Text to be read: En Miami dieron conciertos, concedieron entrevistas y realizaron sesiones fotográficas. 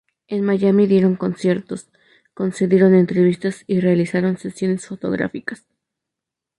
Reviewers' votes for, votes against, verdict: 2, 0, accepted